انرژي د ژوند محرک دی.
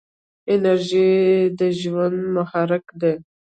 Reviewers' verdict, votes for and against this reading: rejected, 1, 2